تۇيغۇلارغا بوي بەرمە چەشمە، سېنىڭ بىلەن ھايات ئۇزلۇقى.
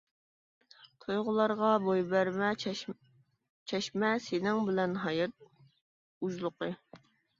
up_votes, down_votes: 0, 2